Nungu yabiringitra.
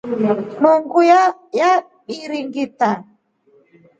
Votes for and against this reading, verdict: 2, 0, accepted